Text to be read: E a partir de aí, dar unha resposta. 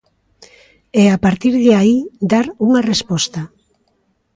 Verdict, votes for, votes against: accepted, 2, 0